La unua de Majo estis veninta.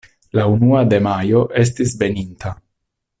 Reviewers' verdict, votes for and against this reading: accepted, 2, 0